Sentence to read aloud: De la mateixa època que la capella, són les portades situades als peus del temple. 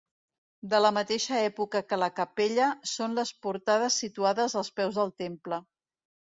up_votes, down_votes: 2, 0